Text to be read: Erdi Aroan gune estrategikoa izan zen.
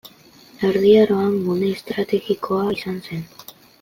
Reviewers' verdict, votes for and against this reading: accepted, 2, 0